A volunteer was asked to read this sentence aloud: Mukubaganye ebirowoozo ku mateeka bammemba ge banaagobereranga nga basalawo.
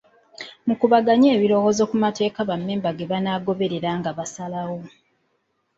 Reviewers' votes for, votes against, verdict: 0, 2, rejected